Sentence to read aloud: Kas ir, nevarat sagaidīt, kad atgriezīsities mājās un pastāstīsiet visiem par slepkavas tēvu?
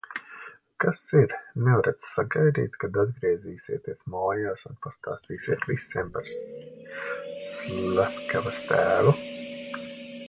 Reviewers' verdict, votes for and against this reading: rejected, 0, 2